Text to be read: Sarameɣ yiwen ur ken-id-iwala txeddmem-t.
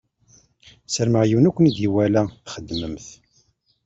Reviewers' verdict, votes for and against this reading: rejected, 1, 2